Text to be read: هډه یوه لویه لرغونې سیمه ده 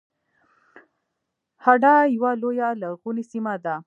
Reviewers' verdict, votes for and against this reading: rejected, 1, 2